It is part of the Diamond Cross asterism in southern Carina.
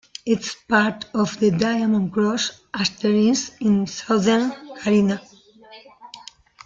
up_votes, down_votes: 1, 2